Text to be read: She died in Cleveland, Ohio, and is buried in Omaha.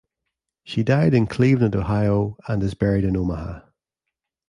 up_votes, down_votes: 2, 0